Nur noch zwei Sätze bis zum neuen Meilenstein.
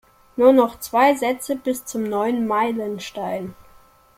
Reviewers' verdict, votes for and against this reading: accepted, 2, 0